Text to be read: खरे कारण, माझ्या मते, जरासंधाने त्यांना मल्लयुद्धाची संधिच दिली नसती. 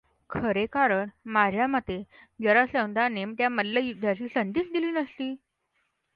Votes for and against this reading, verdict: 2, 0, accepted